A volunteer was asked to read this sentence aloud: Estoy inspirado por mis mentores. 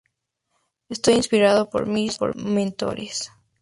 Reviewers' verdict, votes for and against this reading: rejected, 2, 2